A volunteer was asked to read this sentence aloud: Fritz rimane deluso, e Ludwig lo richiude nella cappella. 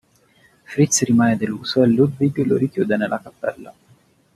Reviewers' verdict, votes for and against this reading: rejected, 0, 2